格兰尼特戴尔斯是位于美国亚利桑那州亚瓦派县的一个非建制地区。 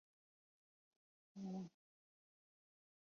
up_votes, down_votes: 0, 4